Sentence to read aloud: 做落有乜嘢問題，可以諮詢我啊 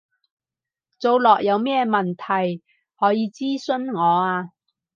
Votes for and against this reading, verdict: 2, 4, rejected